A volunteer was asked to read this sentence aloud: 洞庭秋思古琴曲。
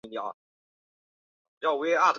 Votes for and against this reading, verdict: 2, 3, rejected